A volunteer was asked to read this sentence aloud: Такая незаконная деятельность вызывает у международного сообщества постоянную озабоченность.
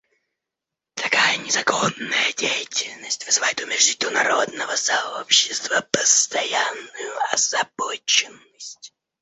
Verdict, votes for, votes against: rejected, 1, 2